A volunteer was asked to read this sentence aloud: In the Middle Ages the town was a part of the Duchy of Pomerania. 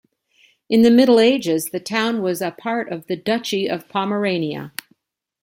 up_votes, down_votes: 2, 0